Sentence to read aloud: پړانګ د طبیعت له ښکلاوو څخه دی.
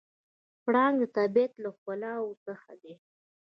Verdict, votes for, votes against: rejected, 0, 2